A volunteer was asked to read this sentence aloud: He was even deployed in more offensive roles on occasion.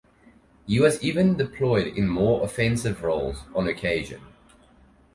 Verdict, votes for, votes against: accepted, 2, 0